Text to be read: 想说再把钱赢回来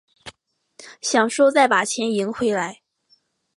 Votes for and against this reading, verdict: 2, 0, accepted